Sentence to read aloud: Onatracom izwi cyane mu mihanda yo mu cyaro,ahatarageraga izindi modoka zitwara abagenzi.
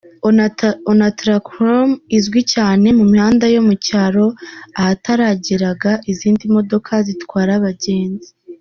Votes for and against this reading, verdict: 0, 2, rejected